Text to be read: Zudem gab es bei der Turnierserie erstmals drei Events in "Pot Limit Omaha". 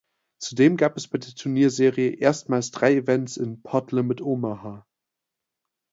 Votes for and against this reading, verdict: 1, 2, rejected